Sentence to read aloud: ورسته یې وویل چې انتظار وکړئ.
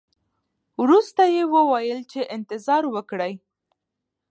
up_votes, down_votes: 1, 2